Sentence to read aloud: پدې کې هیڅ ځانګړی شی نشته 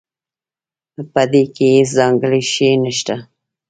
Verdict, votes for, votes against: rejected, 1, 2